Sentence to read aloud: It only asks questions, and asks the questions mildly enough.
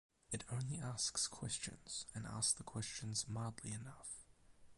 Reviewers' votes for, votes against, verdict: 4, 4, rejected